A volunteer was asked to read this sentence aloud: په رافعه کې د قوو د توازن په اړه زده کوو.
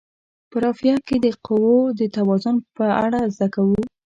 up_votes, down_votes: 2, 0